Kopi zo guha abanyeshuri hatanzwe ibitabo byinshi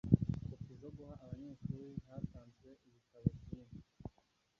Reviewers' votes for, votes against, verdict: 1, 2, rejected